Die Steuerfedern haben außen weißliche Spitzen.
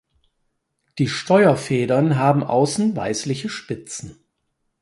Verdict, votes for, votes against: accepted, 4, 0